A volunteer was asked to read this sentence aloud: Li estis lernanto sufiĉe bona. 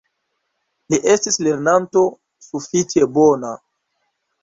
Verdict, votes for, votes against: accepted, 2, 0